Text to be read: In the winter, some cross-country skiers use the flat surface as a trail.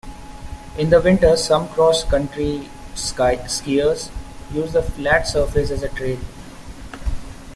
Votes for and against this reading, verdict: 0, 2, rejected